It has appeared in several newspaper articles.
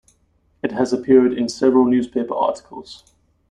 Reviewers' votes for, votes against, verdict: 2, 0, accepted